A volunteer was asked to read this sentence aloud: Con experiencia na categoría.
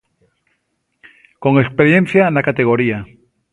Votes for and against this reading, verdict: 2, 0, accepted